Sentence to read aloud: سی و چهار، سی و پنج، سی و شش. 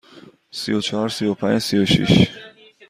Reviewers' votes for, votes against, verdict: 2, 0, accepted